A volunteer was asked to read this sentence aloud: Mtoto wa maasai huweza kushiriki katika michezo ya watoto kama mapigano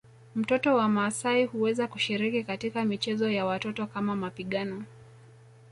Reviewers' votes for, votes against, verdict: 2, 1, accepted